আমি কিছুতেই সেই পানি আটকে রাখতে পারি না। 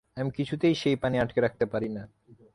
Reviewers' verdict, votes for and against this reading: accepted, 3, 0